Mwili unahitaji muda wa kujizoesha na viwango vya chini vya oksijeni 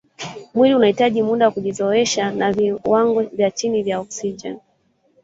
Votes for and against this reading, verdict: 1, 2, rejected